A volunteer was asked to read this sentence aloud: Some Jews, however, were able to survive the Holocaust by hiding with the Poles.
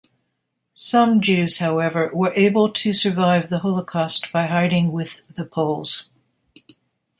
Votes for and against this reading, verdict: 2, 0, accepted